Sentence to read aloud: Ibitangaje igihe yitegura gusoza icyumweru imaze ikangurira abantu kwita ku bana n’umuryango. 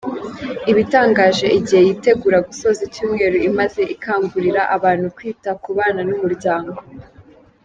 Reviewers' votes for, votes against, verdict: 2, 0, accepted